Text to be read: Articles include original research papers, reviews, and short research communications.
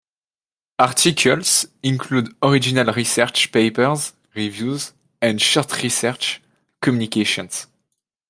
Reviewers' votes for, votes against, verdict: 2, 0, accepted